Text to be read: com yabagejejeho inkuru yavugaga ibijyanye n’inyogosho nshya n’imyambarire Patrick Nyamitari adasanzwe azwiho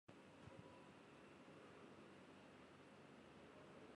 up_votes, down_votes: 0, 2